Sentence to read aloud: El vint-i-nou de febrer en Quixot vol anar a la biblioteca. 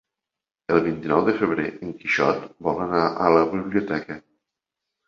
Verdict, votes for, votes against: accepted, 3, 0